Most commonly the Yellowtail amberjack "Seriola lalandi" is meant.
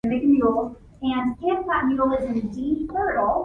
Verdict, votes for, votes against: rejected, 1, 2